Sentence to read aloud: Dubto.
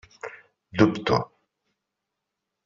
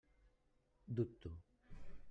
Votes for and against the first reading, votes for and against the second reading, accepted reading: 4, 0, 1, 2, first